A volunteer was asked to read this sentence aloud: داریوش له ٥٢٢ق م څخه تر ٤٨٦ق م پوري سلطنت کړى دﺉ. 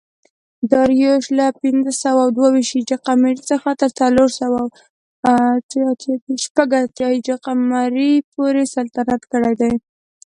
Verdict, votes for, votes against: rejected, 0, 2